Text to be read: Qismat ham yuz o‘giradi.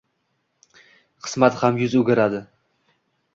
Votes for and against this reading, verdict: 2, 0, accepted